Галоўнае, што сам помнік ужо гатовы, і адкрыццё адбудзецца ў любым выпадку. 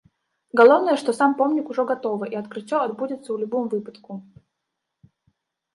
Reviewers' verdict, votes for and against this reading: rejected, 0, 2